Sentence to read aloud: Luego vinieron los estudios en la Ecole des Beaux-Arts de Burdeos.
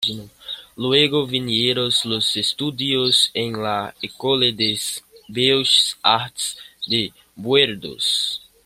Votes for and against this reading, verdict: 1, 2, rejected